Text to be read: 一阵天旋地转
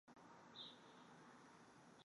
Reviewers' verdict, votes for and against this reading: rejected, 1, 2